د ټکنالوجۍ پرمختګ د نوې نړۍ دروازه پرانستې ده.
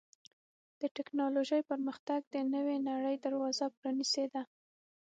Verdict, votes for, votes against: rejected, 3, 6